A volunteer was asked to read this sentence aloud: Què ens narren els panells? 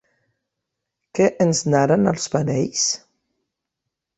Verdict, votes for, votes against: accepted, 5, 0